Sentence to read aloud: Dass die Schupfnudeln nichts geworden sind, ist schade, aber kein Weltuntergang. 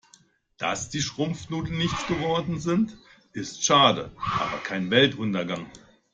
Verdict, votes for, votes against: rejected, 0, 3